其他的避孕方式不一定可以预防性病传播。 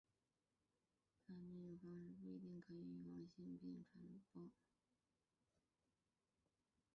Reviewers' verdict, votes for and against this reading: rejected, 0, 4